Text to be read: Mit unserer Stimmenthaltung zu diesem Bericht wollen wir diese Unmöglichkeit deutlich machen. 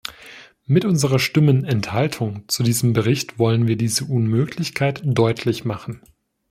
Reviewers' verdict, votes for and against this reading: rejected, 1, 2